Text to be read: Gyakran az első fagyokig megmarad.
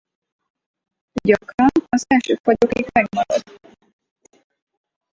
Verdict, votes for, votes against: rejected, 2, 4